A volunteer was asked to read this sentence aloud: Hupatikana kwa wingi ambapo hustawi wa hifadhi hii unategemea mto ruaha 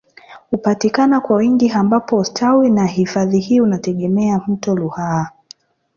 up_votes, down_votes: 1, 2